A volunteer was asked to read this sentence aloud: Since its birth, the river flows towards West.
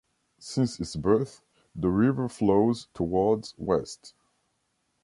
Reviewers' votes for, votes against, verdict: 2, 0, accepted